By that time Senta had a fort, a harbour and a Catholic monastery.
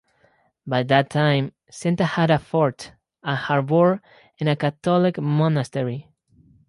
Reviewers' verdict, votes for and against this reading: accepted, 4, 0